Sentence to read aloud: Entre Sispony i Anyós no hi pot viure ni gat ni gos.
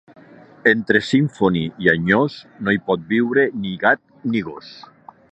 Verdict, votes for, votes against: rejected, 1, 2